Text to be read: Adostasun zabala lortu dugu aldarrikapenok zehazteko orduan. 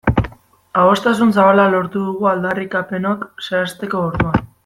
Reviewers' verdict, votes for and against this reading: accepted, 2, 1